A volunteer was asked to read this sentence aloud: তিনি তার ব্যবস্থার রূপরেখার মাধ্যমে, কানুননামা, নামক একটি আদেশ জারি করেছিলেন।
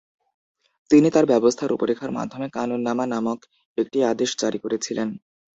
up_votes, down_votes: 0, 2